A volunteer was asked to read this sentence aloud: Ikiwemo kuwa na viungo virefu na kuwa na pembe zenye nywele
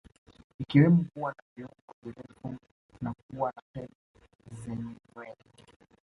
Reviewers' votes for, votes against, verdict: 2, 0, accepted